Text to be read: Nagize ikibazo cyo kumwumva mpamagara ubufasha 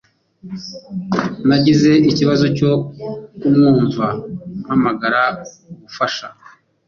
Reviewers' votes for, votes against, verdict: 2, 0, accepted